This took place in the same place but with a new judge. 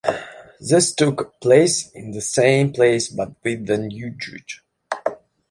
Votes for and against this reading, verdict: 2, 0, accepted